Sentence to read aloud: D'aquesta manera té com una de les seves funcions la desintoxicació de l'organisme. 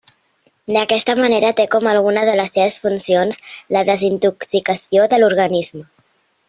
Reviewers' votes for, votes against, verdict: 1, 2, rejected